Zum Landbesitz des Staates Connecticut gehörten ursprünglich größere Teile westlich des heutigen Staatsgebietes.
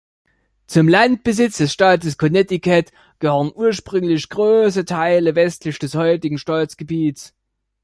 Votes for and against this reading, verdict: 0, 2, rejected